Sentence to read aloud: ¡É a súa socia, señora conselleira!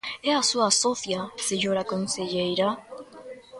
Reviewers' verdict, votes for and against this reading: accepted, 2, 0